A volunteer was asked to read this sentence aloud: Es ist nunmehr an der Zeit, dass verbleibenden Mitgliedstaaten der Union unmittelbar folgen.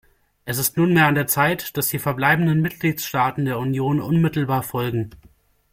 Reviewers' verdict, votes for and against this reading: rejected, 1, 2